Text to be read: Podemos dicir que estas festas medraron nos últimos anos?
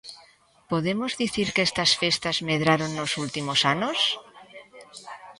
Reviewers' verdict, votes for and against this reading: accepted, 2, 0